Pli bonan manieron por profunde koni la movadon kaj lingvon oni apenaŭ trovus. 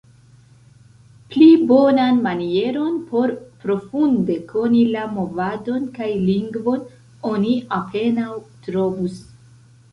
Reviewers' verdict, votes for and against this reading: rejected, 0, 2